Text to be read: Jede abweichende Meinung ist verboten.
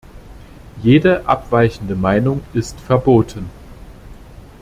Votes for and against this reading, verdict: 2, 0, accepted